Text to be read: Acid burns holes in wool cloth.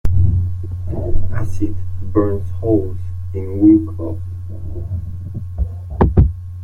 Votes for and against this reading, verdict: 0, 2, rejected